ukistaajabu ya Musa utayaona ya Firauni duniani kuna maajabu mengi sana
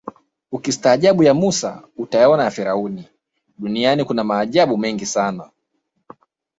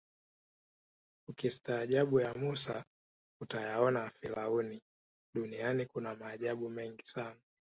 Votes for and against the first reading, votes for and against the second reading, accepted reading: 0, 2, 2, 0, second